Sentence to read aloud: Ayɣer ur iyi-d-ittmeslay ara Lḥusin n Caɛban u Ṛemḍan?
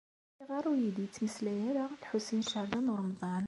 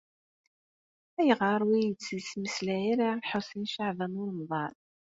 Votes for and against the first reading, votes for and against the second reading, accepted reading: 2, 0, 0, 2, first